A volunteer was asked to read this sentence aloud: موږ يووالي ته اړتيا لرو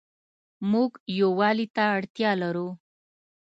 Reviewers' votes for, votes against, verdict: 2, 0, accepted